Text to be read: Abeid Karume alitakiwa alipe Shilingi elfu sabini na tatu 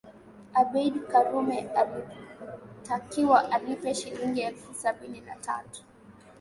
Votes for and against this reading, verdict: 3, 0, accepted